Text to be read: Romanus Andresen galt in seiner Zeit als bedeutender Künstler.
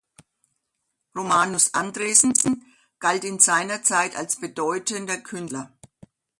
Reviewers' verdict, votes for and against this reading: rejected, 0, 2